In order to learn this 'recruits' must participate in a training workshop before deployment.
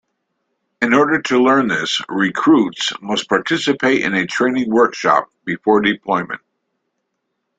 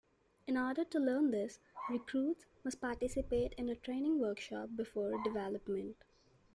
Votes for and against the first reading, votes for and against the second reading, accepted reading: 2, 0, 1, 2, first